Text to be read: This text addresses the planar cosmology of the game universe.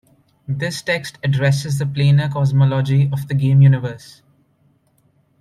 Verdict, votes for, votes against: accepted, 2, 0